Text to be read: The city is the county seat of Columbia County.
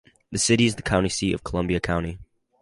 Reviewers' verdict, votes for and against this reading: accepted, 4, 0